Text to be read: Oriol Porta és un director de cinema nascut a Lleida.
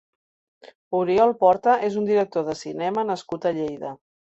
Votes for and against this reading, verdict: 4, 0, accepted